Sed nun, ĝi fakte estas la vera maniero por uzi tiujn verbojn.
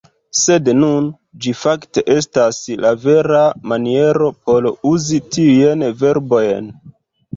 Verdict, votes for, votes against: rejected, 0, 3